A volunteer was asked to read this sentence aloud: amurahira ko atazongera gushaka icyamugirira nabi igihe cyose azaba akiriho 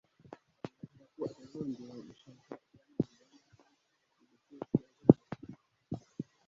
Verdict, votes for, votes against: rejected, 0, 2